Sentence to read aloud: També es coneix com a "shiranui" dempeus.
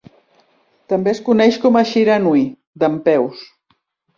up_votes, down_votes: 3, 0